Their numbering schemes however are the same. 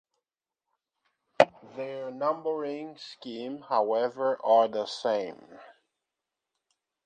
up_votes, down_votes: 0, 2